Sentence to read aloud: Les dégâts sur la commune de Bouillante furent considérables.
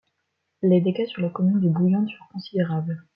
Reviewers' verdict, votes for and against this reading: accepted, 2, 0